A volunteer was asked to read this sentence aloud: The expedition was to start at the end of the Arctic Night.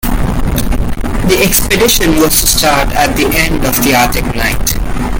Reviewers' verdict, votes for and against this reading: accepted, 2, 0